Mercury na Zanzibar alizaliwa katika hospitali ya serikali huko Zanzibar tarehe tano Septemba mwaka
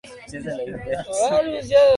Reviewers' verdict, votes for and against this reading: rejected, 0, 2